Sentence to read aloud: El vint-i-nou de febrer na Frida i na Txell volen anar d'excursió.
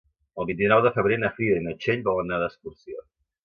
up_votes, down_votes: 2, 3